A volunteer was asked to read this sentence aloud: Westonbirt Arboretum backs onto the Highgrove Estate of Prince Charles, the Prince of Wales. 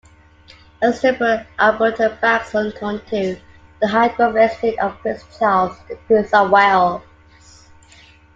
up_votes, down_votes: 0, 2